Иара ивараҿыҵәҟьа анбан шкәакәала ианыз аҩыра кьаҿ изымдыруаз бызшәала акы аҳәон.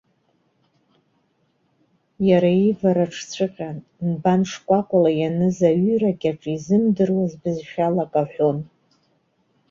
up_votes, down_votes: 2, 0